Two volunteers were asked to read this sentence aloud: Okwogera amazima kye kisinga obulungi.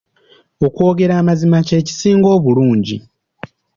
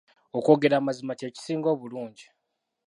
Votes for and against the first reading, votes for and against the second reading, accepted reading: 2, 0, 1, 2, first